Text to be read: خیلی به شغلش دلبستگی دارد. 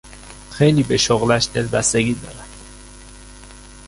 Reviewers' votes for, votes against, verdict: 1, 2, rejected